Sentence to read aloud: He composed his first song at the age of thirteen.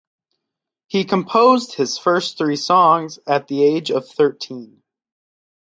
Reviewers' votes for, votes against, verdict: 0, 4, rejected